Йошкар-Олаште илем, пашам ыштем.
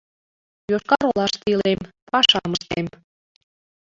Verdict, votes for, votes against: rejected, 1, 2